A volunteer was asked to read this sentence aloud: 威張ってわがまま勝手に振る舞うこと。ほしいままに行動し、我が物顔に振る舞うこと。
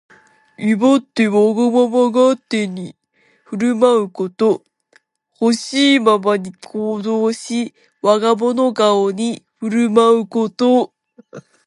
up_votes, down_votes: 2, 1